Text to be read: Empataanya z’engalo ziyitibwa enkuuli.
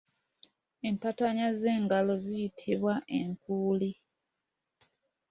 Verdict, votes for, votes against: accepted, 2, 0